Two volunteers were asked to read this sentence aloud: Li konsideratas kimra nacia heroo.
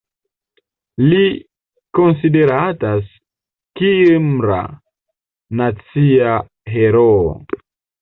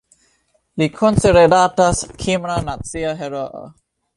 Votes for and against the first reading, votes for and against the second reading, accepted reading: 0, 2, 2, 1, second